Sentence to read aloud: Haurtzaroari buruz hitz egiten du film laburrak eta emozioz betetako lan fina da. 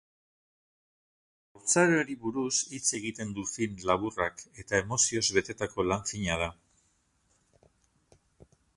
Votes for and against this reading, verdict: 0, 4, rejected